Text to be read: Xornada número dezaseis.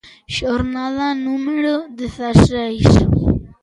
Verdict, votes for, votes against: accepted, 2, 0